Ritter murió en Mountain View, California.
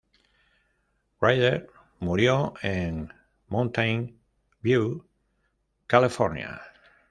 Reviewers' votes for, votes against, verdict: 0, 2, rejected